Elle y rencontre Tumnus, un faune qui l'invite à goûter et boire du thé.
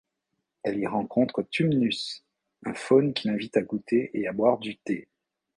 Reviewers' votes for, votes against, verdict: 1, 2, rejected